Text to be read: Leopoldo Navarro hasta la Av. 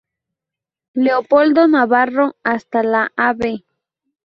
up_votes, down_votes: 0, 2